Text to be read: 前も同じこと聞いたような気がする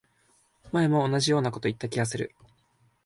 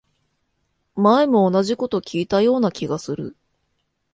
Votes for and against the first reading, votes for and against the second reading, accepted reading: 0, 3, 2, 0, second